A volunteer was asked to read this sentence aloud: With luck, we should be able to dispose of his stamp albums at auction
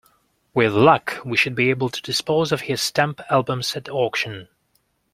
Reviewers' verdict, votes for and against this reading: accepted, 2, 0